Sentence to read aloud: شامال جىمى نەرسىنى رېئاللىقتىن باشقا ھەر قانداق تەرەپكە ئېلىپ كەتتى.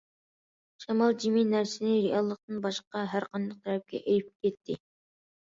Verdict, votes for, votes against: accepted, 2, 1